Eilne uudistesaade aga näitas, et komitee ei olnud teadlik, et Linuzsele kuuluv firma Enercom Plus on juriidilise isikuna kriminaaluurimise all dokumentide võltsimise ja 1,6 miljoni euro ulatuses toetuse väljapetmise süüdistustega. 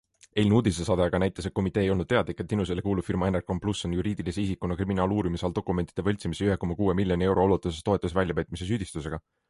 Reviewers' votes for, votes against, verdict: 0, 2, rejected